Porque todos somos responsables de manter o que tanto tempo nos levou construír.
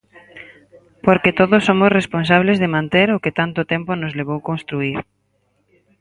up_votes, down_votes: 4, 0